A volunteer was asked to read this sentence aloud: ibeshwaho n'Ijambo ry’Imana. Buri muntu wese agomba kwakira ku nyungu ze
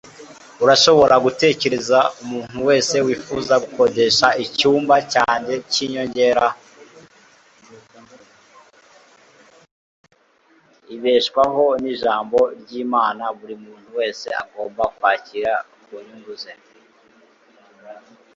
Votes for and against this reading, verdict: 1, 2, rejected